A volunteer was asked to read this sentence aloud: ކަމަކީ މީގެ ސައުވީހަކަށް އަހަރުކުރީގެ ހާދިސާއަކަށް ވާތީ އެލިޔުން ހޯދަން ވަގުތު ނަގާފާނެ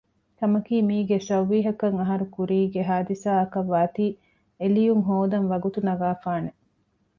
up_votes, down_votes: 2, 1